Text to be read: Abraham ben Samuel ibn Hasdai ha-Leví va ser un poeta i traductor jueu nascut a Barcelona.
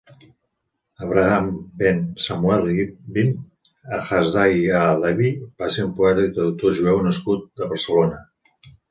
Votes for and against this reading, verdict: 2, 3, rejected